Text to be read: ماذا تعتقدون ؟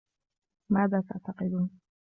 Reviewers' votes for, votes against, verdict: 1, 2, rejected